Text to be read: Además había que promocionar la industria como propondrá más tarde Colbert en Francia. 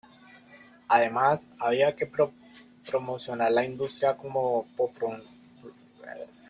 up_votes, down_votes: 0, 2